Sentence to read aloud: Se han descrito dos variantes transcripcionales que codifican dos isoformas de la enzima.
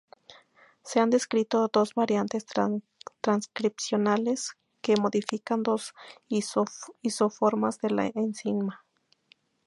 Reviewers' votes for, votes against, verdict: 0, 2, rejected